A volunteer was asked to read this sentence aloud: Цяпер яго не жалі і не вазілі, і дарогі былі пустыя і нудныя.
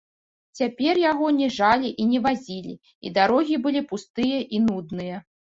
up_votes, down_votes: 2, 0